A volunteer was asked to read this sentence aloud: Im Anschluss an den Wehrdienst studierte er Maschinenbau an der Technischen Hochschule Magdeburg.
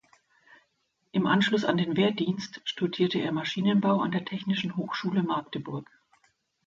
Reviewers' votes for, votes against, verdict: 2, 0, accepted